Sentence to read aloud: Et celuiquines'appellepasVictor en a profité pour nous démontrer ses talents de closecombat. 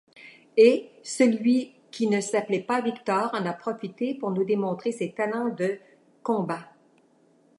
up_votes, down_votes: 0, 2